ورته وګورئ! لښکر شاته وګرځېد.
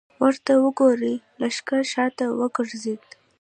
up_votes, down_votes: 2, 0